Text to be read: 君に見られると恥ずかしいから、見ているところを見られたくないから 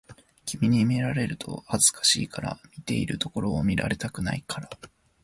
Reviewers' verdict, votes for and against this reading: accepted, 3, 0